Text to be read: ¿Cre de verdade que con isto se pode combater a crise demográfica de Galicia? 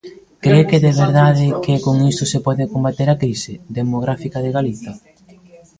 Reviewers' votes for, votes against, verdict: 0, 2, rejected